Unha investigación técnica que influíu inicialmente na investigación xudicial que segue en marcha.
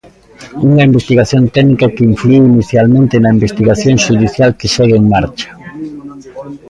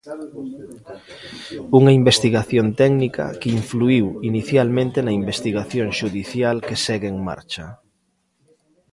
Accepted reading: second